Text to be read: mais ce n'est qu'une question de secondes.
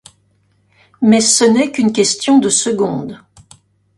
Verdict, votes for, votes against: accepted, 2, 0